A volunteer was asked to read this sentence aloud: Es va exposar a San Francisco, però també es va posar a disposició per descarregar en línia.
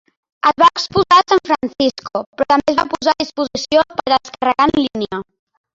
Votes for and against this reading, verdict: 0, 2, rejected